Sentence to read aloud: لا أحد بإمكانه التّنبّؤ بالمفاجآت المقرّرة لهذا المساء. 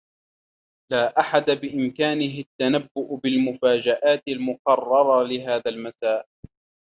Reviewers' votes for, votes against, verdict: 1, 2, rejected